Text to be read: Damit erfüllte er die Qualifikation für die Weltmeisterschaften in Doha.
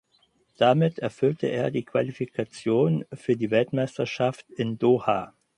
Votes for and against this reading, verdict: 0, 4, rejected